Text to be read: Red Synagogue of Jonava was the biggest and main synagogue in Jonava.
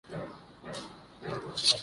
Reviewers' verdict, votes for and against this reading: rejected, 0, 2